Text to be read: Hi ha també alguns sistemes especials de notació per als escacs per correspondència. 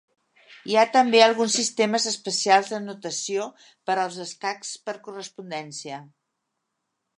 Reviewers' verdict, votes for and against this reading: accepted, 3, 0